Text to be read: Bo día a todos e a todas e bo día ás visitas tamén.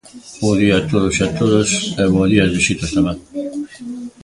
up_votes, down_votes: 2, 0